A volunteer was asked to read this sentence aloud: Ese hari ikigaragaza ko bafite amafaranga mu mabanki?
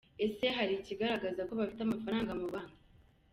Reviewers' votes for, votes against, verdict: 1, 2, rejected